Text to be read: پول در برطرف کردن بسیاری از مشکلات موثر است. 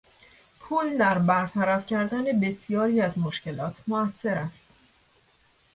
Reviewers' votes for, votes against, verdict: 2, 0, accepted